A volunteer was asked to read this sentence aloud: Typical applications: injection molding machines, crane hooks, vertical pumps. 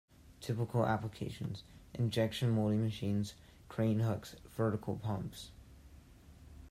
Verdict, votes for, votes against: accepted, 2, 0